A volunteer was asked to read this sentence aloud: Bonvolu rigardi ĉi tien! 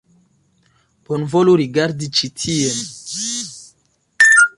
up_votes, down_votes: 2, 0